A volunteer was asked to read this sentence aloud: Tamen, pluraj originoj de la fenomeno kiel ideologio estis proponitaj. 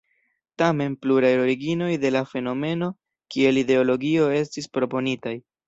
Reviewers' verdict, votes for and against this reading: accepted, 2, 0